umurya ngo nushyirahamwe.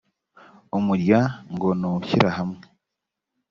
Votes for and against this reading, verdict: 2, 0, accepted